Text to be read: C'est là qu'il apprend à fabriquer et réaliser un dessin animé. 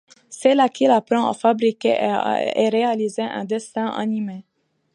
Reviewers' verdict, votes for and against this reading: rejected, 0, 2